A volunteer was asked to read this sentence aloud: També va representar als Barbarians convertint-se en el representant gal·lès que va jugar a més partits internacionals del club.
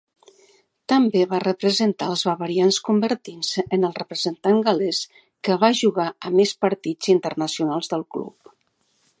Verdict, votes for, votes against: accepted, 2, 1